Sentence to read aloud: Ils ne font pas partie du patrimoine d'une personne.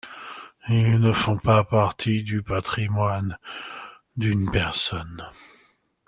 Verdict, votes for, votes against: accepted, 2, 0